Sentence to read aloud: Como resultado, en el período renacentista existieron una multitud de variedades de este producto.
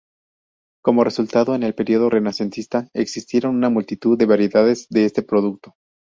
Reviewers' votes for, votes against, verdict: 2, 0, accepted